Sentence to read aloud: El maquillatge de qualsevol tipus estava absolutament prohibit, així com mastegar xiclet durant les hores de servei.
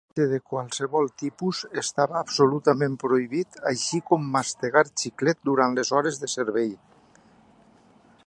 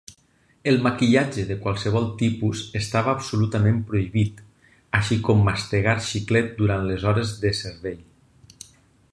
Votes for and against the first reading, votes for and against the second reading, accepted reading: 0, 2, 6, 0, second